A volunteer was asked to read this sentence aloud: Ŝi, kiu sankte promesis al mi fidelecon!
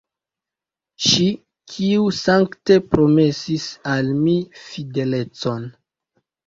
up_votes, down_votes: 1, 2